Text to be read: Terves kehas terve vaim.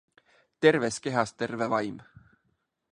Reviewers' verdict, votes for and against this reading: accepted, 2, 0